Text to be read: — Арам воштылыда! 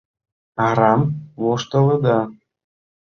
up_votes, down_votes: 2, 0